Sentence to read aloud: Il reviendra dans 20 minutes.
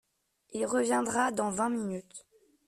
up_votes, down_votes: 0, 2